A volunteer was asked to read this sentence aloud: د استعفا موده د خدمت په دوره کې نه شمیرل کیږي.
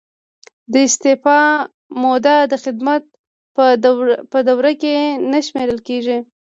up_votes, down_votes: 0, 2